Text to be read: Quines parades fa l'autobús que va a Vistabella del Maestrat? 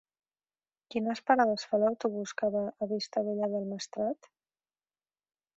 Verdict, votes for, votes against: accepted, 3, 0